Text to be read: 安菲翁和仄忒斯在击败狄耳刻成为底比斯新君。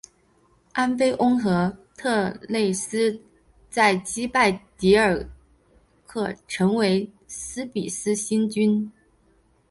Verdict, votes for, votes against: accepted, 2, 0